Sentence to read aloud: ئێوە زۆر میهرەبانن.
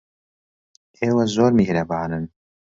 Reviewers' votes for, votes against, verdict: 2, 0, accepted